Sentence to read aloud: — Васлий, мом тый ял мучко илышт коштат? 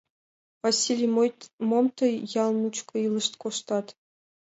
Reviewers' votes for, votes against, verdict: 1, 2, rejected